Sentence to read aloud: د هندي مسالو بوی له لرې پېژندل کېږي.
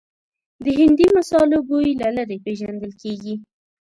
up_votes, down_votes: 2, 0